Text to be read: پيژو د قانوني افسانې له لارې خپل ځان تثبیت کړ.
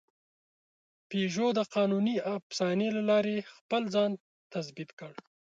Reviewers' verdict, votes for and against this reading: accepted, 3, 1